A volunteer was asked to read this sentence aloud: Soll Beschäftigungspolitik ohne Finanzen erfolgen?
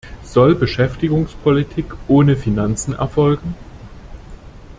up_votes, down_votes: 2, 0